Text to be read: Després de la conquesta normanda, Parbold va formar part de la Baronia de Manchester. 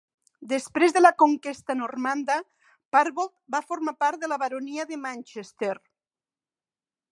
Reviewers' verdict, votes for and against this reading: accepted, 4, 0